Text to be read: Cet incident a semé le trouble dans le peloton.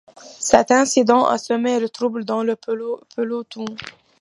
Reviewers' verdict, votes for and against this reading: rejected, 1, 2